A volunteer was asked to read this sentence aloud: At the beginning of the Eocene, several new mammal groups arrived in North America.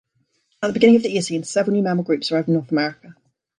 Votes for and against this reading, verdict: 0, 2, rejected